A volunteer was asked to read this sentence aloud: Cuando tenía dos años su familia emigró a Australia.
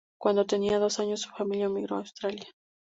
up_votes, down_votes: 2, 0